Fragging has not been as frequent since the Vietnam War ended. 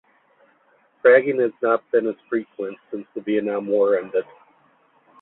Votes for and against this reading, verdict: 2, 1, accepted